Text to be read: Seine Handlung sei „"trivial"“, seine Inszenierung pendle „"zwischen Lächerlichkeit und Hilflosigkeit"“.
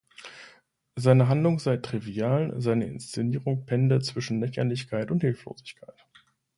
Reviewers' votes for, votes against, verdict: 2, 0, accepted